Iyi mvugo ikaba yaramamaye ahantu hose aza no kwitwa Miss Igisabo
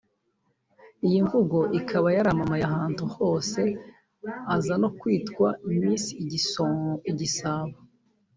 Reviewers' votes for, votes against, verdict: 0, 2, rejected